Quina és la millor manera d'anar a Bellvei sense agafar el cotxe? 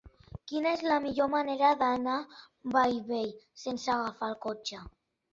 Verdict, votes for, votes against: accepted, 2, 0